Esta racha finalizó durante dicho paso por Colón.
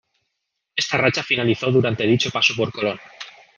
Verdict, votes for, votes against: accepted, 3, 0